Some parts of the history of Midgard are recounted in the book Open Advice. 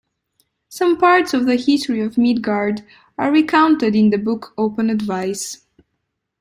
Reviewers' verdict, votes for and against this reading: accepted, 2, 0